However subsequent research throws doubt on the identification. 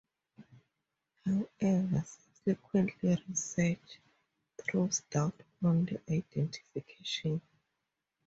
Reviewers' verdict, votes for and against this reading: accepted, 2, 0